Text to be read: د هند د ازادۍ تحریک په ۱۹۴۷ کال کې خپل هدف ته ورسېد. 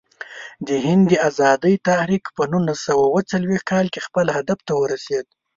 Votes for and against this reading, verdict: 0, 2, rejected